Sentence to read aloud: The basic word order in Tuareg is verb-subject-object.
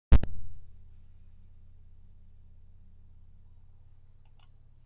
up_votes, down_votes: 0, 2